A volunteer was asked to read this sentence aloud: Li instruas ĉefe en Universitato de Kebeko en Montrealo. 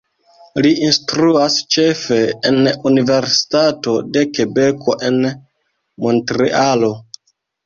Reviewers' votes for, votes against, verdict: 1, 2, rejected